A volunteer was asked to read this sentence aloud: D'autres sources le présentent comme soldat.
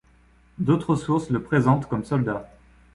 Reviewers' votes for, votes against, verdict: 2, 0, accepted